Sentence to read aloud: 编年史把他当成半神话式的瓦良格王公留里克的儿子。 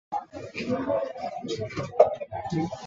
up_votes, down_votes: 1, 2